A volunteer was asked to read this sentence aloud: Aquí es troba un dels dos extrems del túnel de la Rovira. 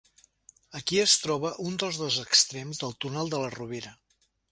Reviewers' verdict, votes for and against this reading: accepted, 4, 0